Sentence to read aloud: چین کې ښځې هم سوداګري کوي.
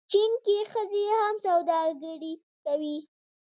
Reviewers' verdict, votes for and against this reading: rejected, 0, 2